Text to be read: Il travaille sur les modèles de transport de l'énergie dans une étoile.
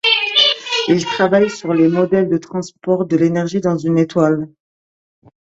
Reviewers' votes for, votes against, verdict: 2, 1, accepted